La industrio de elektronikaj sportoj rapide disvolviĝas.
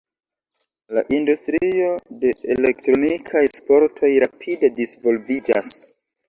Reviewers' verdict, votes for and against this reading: rejected, 0, 2